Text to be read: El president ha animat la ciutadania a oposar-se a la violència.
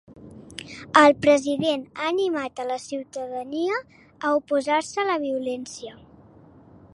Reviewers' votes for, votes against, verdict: 1, 2, rejected